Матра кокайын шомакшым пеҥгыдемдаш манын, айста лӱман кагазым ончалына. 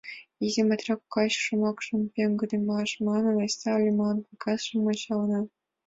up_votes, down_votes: 1, 3